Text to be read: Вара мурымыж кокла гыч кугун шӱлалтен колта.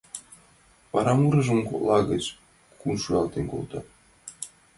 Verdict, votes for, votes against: rejected, 1, 2